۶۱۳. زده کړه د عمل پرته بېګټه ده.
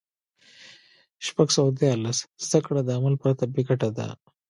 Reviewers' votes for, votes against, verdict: 0, 2, rejected